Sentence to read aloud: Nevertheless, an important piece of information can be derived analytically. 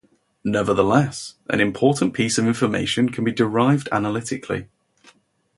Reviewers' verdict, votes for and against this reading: accepted, 2, 0